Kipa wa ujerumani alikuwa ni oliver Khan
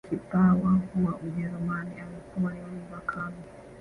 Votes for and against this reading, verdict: 0, 2, rejected